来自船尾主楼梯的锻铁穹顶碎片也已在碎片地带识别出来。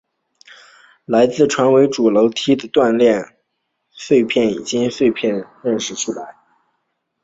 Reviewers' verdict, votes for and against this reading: rejected, 0, 2